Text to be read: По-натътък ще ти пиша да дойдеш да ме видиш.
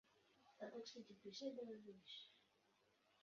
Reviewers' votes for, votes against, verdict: 0, 2, rejected